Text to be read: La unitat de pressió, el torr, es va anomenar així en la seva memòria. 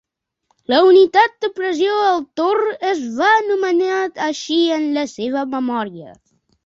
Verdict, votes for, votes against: accepted, 2, 0